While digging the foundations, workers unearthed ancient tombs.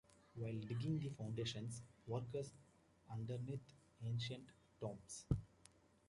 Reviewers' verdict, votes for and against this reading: rejected, 1, 2